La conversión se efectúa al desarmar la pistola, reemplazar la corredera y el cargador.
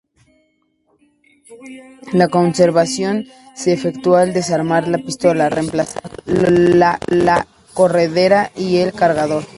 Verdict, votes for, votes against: rejected, 0, 2